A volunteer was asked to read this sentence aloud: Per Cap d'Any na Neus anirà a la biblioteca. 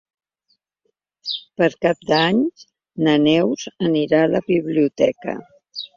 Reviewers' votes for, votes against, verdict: 1, 2, rejected